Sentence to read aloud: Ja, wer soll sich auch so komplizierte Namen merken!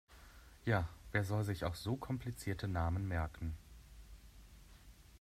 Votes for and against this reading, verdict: 2, 0, accepted